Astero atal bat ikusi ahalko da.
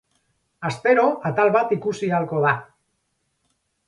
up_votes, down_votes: 4, 0